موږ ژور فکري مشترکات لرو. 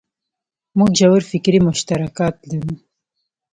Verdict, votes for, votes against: accepted, 2, 1